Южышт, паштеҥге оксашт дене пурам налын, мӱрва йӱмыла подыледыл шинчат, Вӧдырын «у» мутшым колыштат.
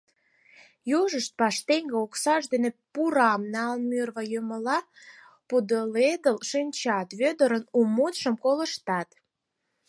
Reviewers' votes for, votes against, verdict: 4, 6, rejected